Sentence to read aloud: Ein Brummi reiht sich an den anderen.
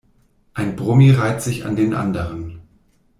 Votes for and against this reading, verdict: 2, 0, accepted